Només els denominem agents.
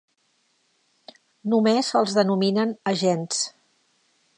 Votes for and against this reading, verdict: 1, 2, rejected